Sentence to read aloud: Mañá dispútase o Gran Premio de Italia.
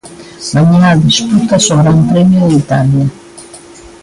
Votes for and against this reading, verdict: 2, 0, accepted